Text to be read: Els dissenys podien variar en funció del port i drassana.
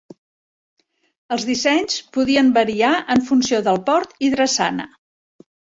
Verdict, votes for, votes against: accepted, 3, 0